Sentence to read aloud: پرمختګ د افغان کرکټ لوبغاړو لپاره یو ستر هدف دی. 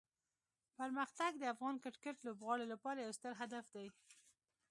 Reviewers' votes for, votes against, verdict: 2, 0, accepted